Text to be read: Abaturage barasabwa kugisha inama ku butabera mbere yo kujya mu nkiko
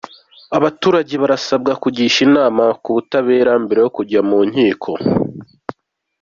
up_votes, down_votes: 2, 0